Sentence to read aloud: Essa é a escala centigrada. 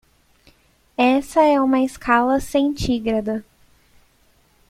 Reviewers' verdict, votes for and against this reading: rejected, 0, 2